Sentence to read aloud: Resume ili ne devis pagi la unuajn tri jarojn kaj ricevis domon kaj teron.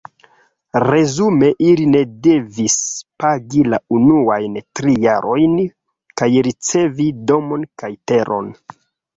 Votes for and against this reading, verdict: 0, 2, rejected